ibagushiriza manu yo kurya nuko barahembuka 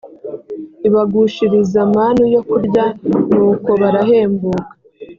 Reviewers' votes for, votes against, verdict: 2, 0, accepted